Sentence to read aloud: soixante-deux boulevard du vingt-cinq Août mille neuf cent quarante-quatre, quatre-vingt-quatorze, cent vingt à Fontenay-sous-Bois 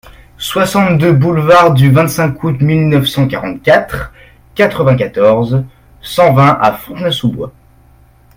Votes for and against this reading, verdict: 2, 0, accepted